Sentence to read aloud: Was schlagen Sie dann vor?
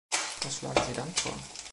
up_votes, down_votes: 1, 2